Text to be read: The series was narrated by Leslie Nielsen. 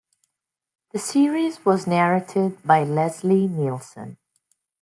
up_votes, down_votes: 1, 2